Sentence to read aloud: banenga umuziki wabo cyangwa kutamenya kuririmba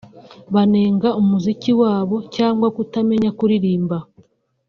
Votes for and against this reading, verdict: 1, 2, rejected